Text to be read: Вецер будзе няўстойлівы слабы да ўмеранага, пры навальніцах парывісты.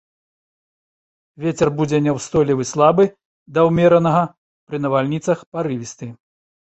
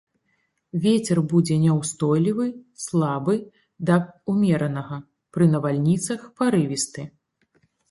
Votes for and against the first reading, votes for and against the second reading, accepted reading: 2, 0, 0, 2, first